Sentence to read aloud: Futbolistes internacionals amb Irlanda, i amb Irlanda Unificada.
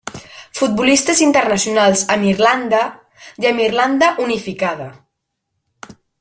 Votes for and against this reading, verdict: 2, 0, accepted